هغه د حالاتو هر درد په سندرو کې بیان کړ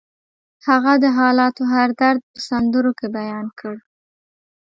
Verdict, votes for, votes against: accepted, 2, 0